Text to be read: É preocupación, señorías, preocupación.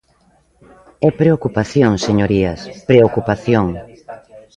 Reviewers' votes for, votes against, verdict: 1, 2, rejected